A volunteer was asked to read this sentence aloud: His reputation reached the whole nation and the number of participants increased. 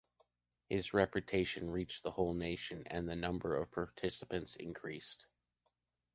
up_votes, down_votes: 1, 2